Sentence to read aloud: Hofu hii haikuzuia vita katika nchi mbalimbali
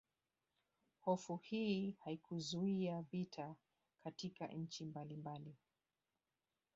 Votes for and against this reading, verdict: 1, 2, rejected